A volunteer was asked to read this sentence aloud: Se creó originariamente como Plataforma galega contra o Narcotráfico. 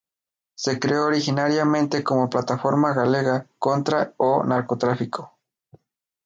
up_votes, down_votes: 0, 2